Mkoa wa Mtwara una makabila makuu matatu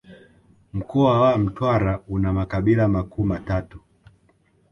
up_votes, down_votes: 1, 2